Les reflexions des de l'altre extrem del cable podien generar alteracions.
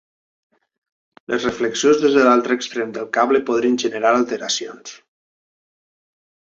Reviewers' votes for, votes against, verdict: 2, 3, rejected